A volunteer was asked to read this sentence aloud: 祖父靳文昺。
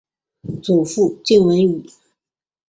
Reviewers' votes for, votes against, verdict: 0, 4, rejected